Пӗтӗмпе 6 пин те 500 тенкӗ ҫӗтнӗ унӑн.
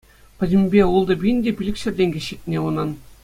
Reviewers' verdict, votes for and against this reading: rejected, 0, 2